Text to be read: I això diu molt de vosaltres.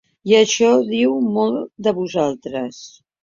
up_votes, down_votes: 2, 0